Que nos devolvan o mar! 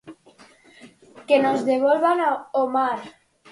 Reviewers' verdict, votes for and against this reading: rejected, 0, 4